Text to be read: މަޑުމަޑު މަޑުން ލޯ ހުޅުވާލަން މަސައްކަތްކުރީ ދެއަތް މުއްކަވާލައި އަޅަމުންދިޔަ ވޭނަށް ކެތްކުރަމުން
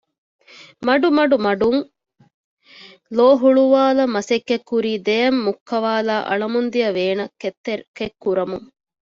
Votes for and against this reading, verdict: 0, 2, rejected